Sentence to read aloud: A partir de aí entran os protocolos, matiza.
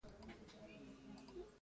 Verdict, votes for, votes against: rejected, 0, 2